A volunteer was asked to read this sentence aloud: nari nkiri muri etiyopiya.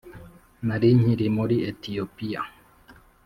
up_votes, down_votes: 3, 0